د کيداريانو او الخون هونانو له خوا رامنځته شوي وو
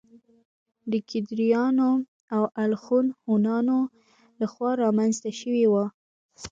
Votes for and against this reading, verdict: 1, 2, rejected